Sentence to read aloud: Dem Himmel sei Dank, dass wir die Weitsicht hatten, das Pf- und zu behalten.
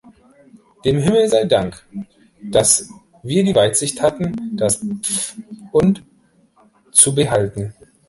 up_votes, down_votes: 3, 0